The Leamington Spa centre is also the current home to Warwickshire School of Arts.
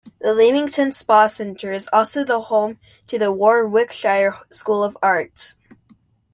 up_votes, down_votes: 0, 2